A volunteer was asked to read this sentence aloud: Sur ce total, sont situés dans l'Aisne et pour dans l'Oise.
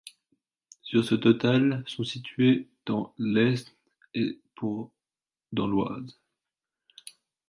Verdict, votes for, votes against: rejected, 0, 2